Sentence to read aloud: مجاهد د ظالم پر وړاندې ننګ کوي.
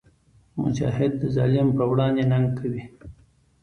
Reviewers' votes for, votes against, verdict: 2, 0, accepted